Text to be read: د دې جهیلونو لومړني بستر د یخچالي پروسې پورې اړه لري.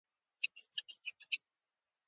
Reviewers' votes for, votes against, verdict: 0, 2, rejected